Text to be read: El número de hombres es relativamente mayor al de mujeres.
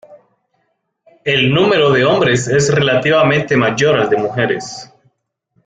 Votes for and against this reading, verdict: 2, 0, accepted